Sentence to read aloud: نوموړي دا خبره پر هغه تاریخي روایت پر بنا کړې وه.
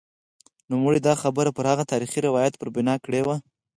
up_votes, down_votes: 2, 4